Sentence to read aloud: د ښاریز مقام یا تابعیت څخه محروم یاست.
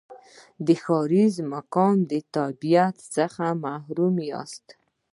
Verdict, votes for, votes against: accepted, 2, 0